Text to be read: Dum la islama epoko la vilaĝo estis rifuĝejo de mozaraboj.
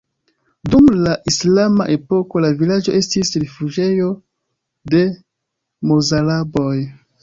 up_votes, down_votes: 2, 3